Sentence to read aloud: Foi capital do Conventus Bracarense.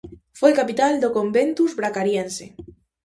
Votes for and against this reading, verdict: 0, 2, rejected